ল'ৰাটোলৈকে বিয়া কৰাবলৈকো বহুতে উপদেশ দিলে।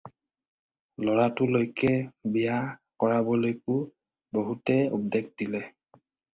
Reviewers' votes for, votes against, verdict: 4, 0, accepted